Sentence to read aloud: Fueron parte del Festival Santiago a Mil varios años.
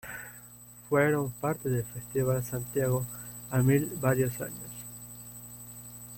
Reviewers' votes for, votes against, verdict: 1, 2, rejected